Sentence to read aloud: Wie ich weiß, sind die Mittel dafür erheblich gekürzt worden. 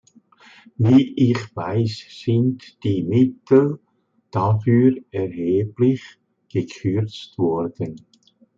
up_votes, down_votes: 2, 0